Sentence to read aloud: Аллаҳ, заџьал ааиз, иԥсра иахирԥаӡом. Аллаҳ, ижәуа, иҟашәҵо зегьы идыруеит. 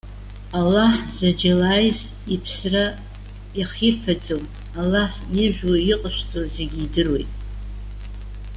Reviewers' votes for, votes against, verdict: 1, 2, rejected